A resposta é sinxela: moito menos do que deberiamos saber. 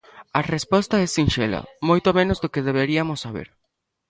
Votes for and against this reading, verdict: 0, 2, rejected